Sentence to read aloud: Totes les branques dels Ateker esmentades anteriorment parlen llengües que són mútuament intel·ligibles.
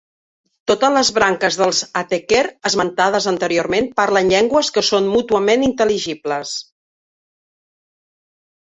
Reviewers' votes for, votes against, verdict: 2, 0, accepted